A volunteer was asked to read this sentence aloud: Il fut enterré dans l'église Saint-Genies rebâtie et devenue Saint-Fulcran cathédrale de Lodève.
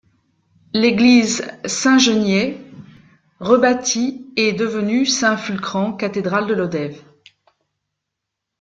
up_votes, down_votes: 0, 2